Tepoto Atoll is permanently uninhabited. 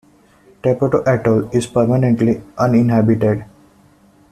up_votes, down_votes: 2, 0